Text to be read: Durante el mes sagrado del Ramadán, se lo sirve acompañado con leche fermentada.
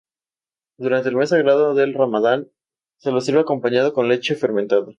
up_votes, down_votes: 2, 0